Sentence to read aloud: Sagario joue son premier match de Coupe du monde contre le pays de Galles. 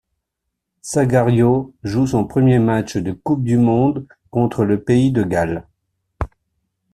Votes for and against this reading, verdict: 2, 0, accepted